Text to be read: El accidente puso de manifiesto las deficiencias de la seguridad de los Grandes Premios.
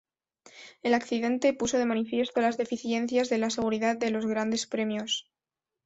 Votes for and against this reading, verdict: 2, 0, accepted